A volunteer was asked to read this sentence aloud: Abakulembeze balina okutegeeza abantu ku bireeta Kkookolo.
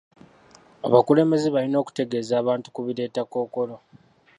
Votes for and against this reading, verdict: 0, 2, rejected